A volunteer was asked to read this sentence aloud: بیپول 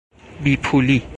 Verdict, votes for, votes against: rejected, 0, 4